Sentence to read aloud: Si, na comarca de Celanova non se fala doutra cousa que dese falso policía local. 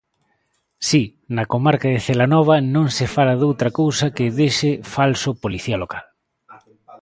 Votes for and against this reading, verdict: 0, 2, rejected